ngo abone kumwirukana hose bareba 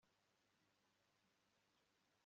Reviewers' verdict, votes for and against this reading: rejected, 0, 2